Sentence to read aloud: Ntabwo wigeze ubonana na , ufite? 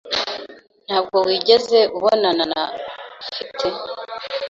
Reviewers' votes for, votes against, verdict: 2, 0, accepted